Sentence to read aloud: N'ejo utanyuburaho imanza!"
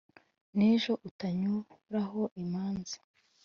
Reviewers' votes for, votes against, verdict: 2, 0, accepted